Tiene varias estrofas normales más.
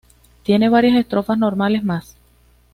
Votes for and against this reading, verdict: 2, 0, accepted